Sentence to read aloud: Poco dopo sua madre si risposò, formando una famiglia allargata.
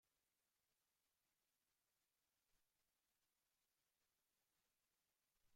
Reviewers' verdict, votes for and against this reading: rejected, 0, 2